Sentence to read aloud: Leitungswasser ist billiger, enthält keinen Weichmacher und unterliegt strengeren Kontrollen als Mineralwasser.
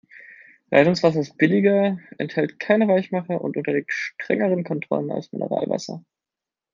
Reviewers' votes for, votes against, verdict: 1, 2, rejected